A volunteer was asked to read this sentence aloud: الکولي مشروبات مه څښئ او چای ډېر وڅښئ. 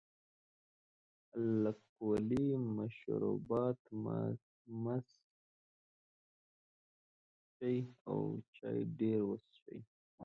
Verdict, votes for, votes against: rejected, 0, 2